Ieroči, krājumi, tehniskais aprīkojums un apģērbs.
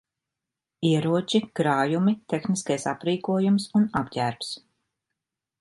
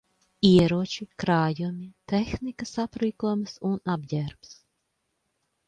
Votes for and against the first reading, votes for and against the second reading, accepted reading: 3, 2, 0, 2, first